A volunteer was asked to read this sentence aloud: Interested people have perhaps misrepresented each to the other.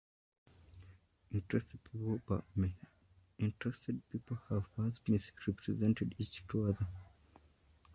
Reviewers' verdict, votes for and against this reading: rejected, 1, 2